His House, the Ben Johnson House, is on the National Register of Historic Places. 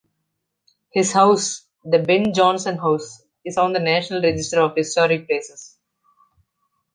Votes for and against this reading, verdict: 2, 0, accepted